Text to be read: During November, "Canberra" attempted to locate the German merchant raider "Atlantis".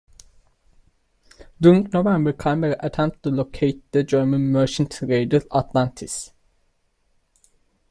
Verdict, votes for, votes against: rejected, 1, 2